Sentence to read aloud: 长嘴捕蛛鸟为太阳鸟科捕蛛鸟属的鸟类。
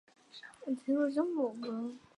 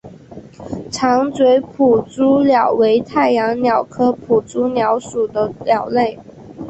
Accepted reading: second